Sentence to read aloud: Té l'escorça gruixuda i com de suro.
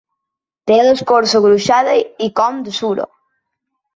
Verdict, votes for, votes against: rejected, 0, 2